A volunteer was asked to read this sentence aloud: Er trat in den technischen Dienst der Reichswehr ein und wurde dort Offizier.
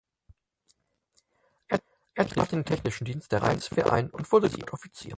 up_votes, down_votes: 0, 4